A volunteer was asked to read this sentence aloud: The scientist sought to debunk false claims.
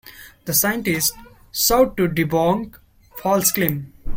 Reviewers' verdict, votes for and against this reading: rejected, 0, 2